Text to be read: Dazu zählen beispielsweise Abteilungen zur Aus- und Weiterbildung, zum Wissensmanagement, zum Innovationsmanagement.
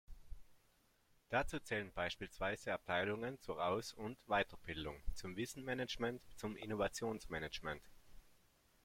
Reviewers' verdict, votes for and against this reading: rejected, 1, 2